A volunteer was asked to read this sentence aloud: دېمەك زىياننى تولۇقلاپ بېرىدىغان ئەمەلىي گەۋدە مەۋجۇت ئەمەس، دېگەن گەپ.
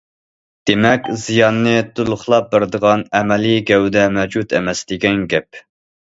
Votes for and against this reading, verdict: 2, 0, accepted